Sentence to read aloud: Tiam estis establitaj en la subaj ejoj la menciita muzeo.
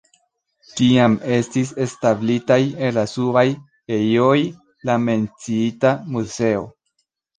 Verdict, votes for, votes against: rejected, 0, 2